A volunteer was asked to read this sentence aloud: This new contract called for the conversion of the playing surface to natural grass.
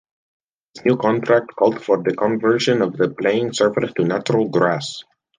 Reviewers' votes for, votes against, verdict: 1, 2, rejected